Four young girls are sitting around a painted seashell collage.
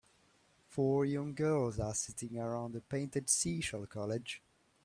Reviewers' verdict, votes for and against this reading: rejected, 1, 3